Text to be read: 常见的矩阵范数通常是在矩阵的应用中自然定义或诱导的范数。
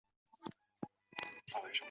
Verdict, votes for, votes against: rejected, 1, 2